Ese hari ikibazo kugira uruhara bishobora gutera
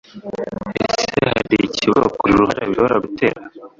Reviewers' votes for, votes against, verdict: 0, 2, rejected